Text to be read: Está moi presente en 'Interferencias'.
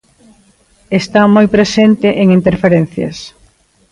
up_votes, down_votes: 2, 0